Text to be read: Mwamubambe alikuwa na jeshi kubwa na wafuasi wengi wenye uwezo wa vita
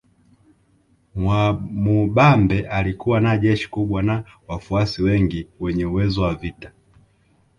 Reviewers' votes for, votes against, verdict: 0, 2, rejected